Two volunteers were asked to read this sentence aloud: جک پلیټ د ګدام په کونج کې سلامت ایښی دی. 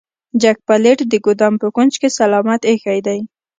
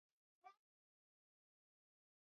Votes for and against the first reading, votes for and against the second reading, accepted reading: 2, 0, 1, 2, first